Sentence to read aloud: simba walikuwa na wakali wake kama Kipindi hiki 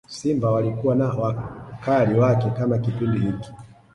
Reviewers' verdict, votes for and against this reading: accepted, 2, 1